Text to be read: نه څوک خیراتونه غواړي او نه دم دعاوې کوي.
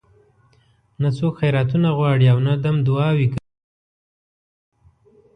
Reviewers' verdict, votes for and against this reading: rejected, 1, 2